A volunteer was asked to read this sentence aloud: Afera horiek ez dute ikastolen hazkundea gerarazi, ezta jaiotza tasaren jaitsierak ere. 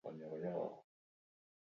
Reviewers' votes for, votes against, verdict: 0, 22, rejected